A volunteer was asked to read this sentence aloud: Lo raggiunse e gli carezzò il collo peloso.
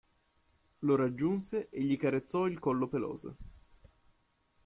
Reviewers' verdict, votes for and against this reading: accepted, 2, 0